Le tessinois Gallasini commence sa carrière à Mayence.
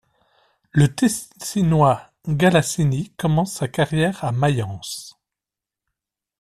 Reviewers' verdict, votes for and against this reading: rejected, 0, 2